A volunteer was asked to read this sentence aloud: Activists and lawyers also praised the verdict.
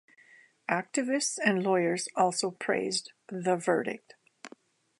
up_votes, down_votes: 2, 0